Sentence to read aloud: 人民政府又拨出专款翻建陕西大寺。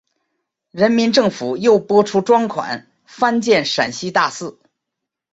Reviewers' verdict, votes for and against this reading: accepted, 2, 0